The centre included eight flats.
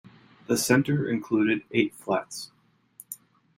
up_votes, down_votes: 1, 2